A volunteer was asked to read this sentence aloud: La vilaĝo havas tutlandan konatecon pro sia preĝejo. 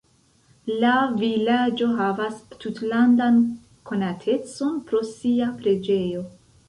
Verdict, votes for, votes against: accepted, 2, 0